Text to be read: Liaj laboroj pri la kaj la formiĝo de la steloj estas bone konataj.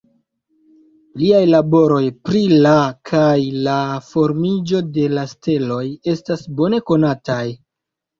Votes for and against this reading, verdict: 1, 2, rejected